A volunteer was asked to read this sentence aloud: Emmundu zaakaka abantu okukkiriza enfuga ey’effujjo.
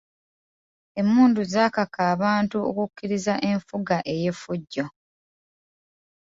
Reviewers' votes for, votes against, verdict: 2, 0, accepted